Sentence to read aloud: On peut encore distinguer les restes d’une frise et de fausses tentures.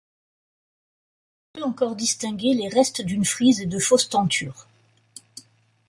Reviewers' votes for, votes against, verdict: 0, 2, rejected